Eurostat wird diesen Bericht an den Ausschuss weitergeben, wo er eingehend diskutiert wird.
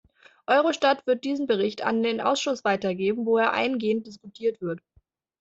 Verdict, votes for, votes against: accepted, 2, 0